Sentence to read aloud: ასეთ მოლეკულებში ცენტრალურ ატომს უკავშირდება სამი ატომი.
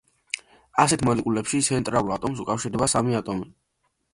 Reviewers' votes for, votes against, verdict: 2, 0, accepted